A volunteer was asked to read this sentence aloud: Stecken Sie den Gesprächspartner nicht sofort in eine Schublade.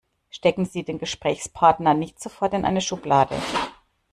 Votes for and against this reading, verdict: 2, 0, accepted